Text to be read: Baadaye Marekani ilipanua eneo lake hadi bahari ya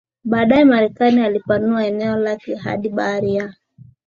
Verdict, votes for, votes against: rejected, 1, 2